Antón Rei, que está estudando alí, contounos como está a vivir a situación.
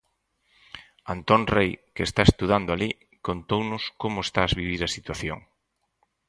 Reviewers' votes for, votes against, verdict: 0, 4, rejected